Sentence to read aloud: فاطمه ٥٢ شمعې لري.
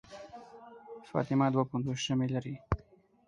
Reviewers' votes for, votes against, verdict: 0, 2, rejected